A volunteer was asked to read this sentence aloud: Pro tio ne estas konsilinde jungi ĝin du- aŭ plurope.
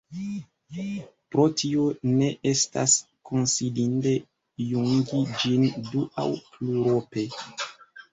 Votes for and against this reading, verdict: 0, 2, rejected